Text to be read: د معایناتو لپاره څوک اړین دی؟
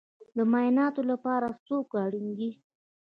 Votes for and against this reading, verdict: 1, 2, rejected